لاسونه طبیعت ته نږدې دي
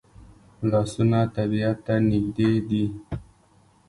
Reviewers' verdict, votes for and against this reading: accepted, 2, 0